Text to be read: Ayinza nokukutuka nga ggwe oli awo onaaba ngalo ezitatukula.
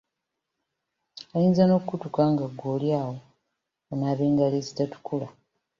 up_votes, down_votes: 2, 0